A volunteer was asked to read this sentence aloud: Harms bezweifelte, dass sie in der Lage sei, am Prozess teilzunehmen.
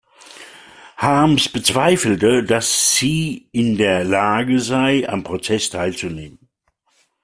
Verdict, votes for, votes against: accepted, 2, 0